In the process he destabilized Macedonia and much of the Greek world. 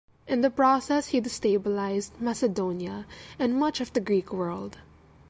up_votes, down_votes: 2, 0